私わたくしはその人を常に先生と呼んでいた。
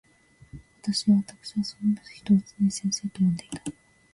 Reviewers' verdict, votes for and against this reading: accepted, 2, 0